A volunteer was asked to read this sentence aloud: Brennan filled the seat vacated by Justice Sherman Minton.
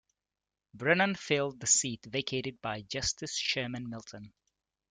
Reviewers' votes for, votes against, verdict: 2, 0, accepted